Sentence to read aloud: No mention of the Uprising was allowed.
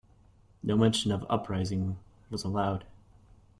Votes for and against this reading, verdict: 1, 2, rejected